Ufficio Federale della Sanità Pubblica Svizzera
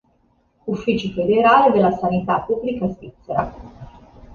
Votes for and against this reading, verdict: 1, 2, rejected